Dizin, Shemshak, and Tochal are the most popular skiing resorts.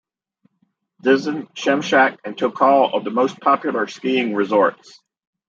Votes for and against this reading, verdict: 1, 2, rejected